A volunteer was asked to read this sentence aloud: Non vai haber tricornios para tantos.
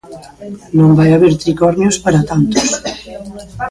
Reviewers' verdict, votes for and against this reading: rejected, 0, 2